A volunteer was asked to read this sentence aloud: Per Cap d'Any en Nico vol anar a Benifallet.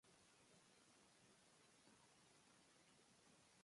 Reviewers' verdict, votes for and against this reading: rejected, 0, 3